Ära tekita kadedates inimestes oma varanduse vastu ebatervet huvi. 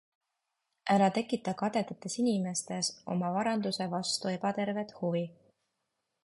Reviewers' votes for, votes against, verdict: 2, 0, accepted